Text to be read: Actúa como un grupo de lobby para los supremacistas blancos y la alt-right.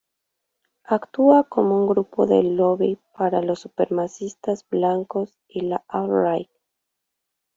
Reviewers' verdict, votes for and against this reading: rejected, 1, 2